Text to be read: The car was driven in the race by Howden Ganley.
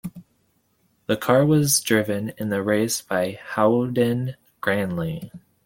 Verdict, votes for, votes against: accepted, 2, 0